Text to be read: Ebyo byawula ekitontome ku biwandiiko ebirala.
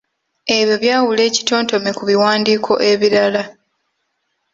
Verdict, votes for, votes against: accepted, 2, 0